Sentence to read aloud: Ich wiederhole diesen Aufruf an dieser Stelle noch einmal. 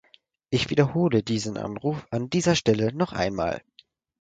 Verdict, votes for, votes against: rejected, 0, 4